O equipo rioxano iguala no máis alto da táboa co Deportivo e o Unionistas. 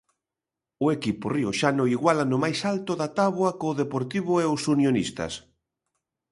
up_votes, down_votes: 0, 2